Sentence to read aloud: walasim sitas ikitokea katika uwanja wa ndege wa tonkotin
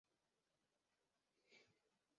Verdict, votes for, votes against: rejected, 0, 2